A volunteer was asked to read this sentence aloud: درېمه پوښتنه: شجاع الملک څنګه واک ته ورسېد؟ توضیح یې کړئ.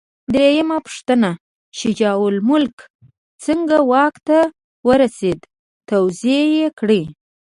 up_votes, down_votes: 2, 0